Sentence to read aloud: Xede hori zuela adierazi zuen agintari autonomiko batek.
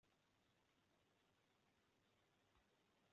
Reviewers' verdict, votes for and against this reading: rejected, 0, 2